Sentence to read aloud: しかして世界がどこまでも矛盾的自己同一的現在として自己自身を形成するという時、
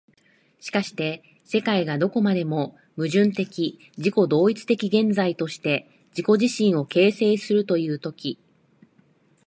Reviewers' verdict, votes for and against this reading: accepted, 2, 1